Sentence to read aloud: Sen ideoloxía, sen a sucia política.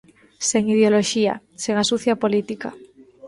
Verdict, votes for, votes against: accepted, 2, 0